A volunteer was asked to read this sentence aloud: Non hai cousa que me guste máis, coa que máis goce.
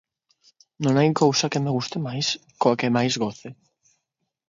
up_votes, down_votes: 6, 0